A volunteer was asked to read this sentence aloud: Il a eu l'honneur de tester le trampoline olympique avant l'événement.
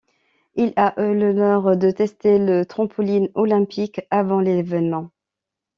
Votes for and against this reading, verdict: 1, 2, rejected